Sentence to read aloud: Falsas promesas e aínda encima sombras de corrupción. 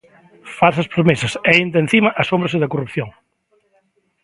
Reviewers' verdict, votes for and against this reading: rejected, 0, 3